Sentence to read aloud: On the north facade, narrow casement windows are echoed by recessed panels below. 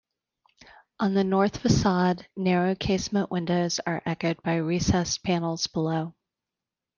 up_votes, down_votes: 2, 0